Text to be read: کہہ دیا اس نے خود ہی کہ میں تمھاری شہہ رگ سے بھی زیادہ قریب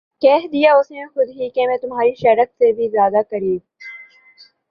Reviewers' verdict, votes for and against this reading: accepted, 5, 0